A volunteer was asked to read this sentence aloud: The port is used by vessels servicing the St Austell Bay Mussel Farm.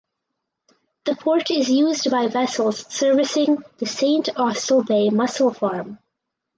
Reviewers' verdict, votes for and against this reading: accepted, 4, 0